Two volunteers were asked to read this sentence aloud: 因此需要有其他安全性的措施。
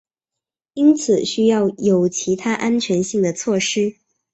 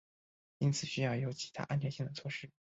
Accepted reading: first